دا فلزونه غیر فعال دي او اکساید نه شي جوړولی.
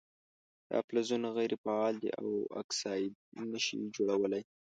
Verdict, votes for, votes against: accepted, 3, 0